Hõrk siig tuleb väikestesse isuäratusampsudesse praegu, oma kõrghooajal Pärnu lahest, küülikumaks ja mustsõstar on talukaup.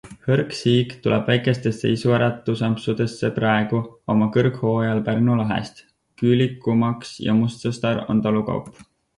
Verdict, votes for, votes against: accepted, 6, 0